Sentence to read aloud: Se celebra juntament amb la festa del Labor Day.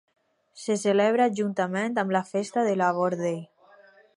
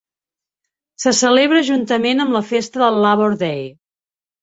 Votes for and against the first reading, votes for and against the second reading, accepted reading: 0, 4, 4, 0, second